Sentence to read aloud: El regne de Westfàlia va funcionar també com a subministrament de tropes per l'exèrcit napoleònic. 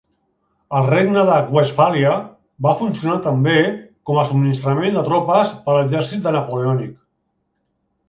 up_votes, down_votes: 2, 1